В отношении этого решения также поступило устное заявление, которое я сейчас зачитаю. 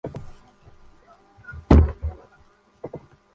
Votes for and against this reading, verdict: 0, 2, rejected